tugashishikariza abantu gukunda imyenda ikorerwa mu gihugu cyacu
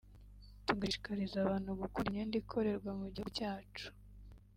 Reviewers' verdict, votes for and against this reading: rejected, 1, 2